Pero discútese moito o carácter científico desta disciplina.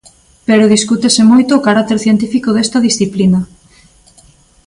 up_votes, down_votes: 2, 0